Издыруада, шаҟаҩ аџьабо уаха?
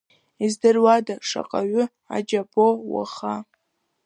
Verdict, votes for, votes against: rejected, 0, 2